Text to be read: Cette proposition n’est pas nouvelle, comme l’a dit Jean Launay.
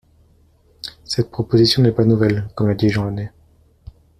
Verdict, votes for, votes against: accepted, 2, 0